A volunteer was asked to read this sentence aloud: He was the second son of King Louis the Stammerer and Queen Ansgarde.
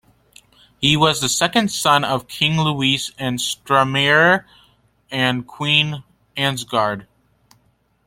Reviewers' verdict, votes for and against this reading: rejected, 0, 2